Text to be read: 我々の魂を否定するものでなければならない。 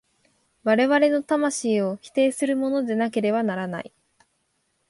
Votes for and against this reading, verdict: 3, 0, accepted